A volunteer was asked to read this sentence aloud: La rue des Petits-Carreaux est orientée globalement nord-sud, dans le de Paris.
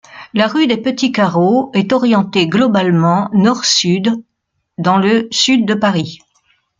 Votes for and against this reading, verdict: 1, 2, rejected